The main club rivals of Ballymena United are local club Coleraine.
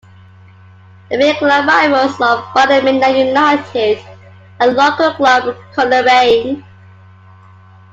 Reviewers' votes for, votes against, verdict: 2, 1, accepted